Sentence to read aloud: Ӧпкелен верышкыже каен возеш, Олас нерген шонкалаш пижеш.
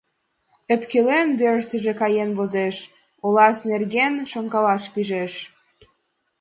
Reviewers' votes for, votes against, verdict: 1, 2, rejected